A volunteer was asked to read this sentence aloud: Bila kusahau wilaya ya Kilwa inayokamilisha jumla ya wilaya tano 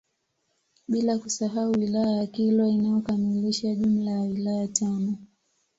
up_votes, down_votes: 2, 0